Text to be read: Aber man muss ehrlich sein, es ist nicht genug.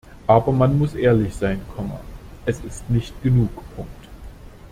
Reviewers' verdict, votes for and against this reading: rejected, 0, 2